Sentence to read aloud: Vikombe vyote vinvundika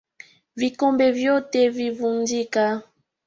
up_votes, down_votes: 2, 0